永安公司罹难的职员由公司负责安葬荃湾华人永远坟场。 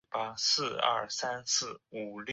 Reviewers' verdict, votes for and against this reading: rejected, 0, 3